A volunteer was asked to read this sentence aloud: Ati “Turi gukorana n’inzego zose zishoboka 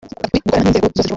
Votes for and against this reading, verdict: 0, 2, rejected